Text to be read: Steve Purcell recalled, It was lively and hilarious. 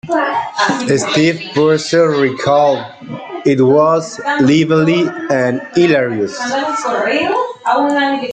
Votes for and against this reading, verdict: 0, 2, rejected